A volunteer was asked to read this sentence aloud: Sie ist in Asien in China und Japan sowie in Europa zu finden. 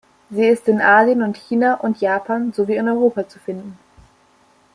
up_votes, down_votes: 1, 2